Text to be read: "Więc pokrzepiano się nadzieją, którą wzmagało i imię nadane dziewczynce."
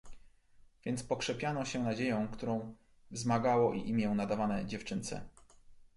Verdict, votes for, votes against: rejected, 1, 2